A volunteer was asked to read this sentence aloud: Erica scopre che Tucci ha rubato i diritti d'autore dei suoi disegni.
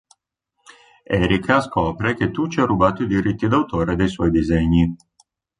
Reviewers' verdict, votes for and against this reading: accepted, 2, 0